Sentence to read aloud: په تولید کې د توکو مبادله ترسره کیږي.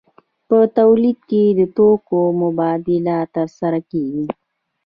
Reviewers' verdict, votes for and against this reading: accepted, 2, 0